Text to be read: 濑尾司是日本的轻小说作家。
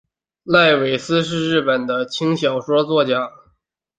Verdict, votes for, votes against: accepted, 2, 0